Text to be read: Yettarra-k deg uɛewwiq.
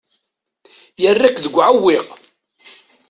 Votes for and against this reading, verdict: 1, 2, rejected